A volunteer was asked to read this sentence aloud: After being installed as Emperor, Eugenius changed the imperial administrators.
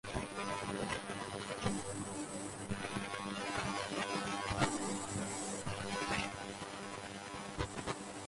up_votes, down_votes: 0, 2